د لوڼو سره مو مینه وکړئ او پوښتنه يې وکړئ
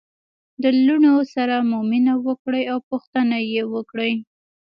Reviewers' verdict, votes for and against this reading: rejected, 1, 2